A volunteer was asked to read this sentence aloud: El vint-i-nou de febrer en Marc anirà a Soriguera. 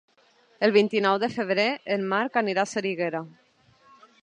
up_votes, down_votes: 1, 2